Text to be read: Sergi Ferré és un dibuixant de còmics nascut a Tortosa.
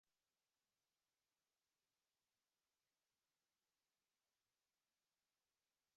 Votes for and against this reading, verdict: 0, 2, rejected